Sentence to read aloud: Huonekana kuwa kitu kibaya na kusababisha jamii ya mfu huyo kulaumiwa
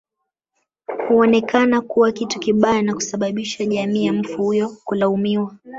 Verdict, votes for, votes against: rejected, 1, 2